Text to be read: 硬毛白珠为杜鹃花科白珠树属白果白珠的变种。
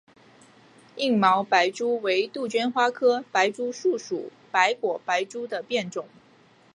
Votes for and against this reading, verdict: 2, 0, accepted